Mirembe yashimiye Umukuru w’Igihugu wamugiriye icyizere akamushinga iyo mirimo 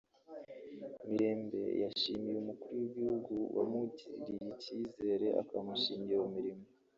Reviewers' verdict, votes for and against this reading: rejected, 0, 2